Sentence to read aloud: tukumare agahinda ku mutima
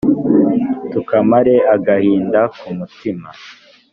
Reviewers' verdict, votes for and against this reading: rejected, 1, 2